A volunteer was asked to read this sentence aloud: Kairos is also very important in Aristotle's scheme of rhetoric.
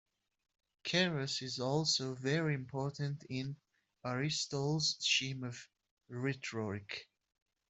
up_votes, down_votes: 0, 2